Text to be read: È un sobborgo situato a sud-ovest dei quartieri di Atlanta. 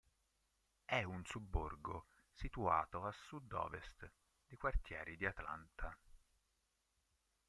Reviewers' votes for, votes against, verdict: 1, 2, rejected